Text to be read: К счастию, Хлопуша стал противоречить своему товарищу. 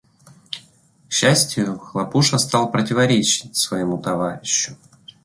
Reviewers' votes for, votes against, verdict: 2, 0, accepted